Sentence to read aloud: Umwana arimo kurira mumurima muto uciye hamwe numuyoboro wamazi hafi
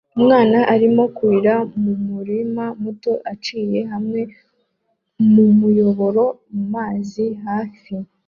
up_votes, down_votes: 0, 2